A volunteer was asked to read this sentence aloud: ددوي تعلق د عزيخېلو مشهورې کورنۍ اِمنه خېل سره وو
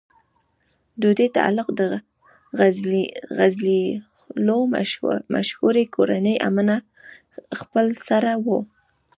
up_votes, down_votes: 1, 2